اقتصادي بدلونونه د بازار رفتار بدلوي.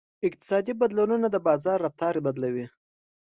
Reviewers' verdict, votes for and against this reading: accepted, 2, 0